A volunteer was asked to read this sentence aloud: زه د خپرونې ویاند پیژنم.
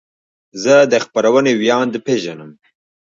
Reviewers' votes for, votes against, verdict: 1, 2, rejected